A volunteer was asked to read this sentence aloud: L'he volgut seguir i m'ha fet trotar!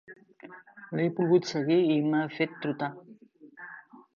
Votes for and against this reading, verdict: 0, 2, rejected